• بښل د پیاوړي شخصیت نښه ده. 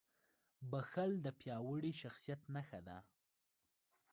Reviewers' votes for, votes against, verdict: 0, 2, rejected